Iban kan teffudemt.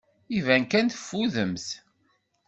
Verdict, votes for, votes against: accepted, 2, 0